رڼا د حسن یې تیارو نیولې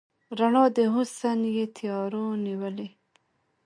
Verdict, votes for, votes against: rejected, 1, 2